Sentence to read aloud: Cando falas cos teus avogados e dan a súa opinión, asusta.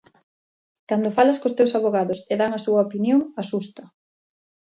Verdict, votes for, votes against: accepted, 2, 0